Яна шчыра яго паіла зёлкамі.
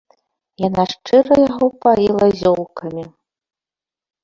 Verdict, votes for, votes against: rejected, 1, 2